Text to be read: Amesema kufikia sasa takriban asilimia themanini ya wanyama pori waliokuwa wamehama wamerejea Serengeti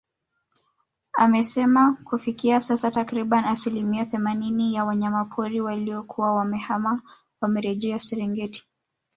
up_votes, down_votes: 1, 2